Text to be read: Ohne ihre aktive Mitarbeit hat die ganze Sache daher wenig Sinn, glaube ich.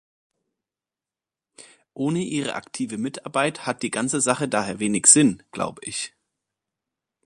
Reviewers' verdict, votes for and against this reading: accepted, 2, 0